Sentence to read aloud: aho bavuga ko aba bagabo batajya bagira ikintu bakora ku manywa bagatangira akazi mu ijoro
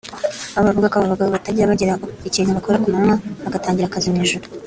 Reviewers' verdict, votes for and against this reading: rejected, 1, 2